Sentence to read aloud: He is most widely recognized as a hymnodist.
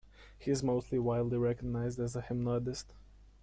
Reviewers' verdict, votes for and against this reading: rejected, 1, 2